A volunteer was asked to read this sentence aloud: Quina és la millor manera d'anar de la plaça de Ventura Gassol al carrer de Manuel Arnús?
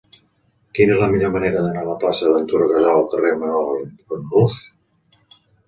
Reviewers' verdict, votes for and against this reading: rejected, 0, 3